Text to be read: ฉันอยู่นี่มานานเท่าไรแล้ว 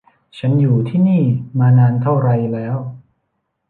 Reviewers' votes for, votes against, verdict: 2, 1, accepted